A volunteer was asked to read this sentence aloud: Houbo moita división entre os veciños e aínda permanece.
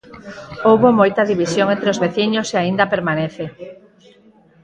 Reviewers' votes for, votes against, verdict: 4, 0, accepted